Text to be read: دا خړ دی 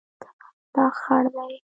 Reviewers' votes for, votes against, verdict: 0, 2, rejected